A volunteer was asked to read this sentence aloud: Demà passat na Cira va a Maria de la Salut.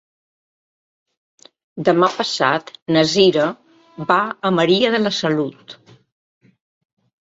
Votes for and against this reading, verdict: 2, 0, accepted